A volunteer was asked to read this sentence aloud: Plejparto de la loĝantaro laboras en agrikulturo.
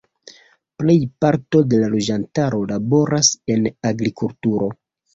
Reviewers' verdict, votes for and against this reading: rejected, 2, 3